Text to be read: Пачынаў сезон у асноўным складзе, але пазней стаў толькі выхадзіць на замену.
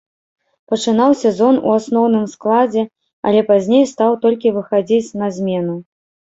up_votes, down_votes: 0, 2